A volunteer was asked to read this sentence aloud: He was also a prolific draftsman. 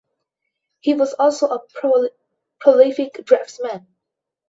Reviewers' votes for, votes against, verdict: 0, 2, rejected